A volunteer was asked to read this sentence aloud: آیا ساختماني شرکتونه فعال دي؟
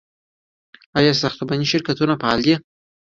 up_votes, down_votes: 2, 0